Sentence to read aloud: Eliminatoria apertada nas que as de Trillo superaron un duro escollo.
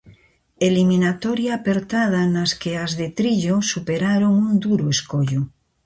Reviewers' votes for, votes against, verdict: 2, 0, accepted